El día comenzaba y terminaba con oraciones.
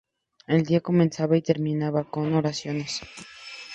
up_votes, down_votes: 2, 0